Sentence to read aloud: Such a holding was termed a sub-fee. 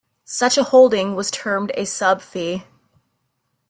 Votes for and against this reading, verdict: 2, 0, accepted